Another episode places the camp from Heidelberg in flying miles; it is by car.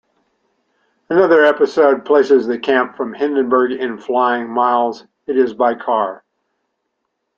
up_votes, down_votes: 1, 2